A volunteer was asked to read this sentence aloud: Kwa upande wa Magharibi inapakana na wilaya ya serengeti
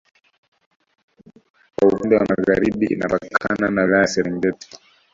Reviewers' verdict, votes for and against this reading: rejected, 0, 2